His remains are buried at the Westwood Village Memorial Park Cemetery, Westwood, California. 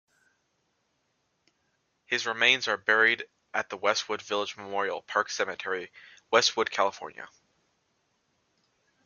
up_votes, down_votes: 2, 0